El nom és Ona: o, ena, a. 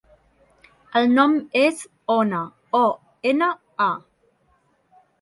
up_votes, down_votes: 2, 0